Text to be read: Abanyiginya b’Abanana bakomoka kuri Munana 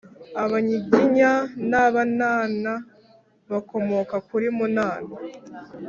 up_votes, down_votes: 0, 2